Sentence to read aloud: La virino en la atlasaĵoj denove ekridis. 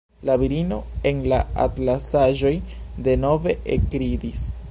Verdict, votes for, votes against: rejected, 1, 2